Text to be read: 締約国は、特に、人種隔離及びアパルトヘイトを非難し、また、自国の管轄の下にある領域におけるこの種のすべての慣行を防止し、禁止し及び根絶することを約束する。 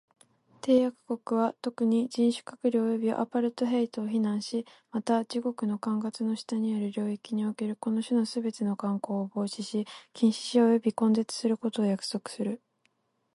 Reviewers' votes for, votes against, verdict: 4, 2, accepted